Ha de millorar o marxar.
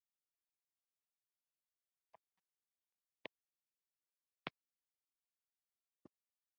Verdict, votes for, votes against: rejected, 0, 2